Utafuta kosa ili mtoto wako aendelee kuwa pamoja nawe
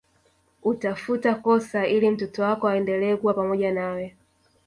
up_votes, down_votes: 1, 2